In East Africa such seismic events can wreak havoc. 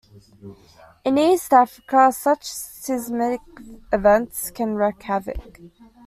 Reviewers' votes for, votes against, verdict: 1, 2, rejected